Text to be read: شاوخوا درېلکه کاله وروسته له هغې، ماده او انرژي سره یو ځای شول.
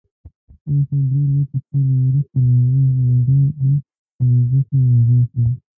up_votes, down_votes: 0, 2